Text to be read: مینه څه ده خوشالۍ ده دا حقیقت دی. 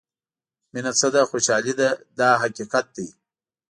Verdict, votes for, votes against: accepted, 2, 0